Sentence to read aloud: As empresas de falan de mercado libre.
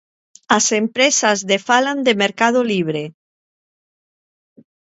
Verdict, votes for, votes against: accepted, 2, 0